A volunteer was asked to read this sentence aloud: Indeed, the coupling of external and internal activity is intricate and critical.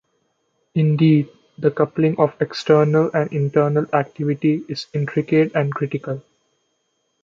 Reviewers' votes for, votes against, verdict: 1, 2, rejected